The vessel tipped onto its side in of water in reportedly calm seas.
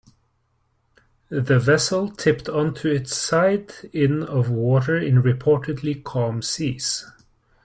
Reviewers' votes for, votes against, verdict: 2, 0, accepted